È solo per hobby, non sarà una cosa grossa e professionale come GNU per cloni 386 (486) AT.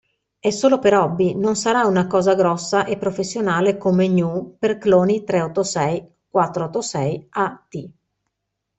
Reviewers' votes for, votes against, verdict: 0, 2, rejected